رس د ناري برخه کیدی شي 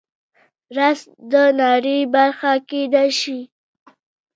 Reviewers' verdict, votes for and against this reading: accepted, 2, 0